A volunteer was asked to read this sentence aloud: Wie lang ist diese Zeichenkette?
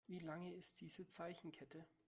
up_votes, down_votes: 0, 2